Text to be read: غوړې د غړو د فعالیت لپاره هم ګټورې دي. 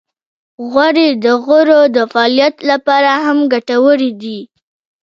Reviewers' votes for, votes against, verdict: 1, 2, rejected